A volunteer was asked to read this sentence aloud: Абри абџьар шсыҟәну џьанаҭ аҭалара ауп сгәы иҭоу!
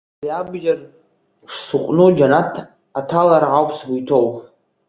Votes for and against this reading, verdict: 3, 1, accepted